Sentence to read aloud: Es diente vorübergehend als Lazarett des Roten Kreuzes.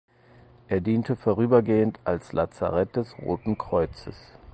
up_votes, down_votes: 0, 4